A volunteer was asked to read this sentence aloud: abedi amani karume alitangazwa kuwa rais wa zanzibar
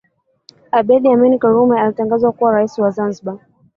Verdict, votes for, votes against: rejected, 1, 2